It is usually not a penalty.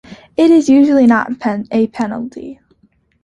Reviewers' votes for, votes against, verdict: 1, 2, rejected